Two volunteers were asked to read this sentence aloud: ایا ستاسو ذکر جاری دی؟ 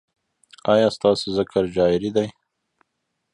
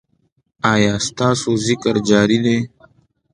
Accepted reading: second